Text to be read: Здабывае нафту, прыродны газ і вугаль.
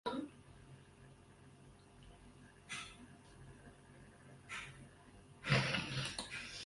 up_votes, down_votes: 1, 3